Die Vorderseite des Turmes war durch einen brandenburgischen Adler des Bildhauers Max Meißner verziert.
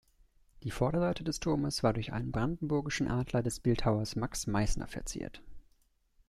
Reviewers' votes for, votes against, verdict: 2, 0, accepted